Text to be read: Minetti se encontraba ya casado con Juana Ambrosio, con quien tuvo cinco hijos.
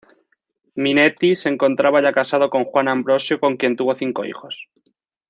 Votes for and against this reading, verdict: 2, 0, accepted